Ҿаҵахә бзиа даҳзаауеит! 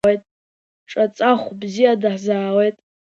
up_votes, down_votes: 2, 1